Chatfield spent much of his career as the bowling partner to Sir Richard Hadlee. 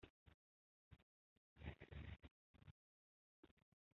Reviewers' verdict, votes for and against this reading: rejected, 0, 2